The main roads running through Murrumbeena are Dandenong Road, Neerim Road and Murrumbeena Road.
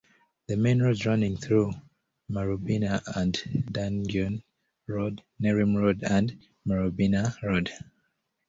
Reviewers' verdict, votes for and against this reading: rejected, 0, 2